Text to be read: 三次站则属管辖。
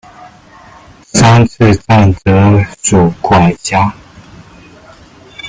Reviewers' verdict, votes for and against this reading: rejected, 0, 2